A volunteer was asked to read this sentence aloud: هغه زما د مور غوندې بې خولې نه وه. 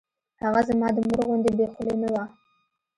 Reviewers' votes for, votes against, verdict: 2, 0, accepted